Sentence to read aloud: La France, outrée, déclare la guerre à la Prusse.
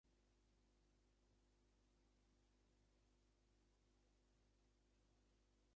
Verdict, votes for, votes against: rejected, 0, 2